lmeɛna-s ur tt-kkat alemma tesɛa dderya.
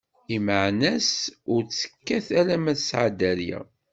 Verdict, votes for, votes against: rejected, 1, 2